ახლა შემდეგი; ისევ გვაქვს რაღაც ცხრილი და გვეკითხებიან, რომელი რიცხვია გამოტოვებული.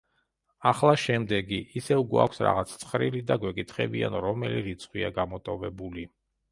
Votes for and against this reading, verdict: 2, 0, accepted